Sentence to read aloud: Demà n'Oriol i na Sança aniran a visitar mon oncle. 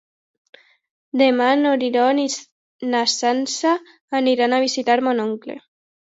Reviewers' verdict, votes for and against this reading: rejected, 0, 2